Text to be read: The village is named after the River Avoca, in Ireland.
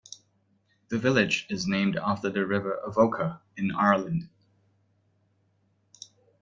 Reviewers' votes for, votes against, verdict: 2, 0, accepted